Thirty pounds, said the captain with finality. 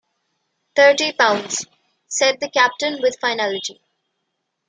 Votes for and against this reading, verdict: 2, 0, accepted